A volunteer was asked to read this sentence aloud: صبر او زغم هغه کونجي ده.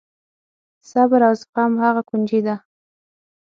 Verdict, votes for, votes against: accepted, 9, 0